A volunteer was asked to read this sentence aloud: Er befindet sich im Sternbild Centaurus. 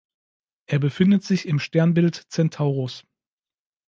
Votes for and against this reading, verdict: 2, 0, accepted